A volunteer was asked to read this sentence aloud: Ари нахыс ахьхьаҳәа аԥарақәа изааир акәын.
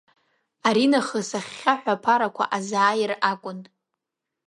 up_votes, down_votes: 2, 0